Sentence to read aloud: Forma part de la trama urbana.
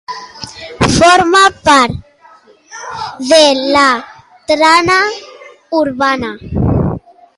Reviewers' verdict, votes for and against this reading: rejected, 1, 2